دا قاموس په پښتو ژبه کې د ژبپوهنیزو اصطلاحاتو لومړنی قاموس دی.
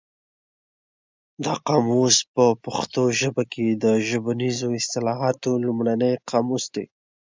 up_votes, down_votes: 3, 1